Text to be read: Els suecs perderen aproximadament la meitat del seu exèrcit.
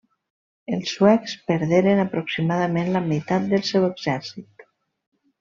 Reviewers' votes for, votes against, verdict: 3, 0, accepted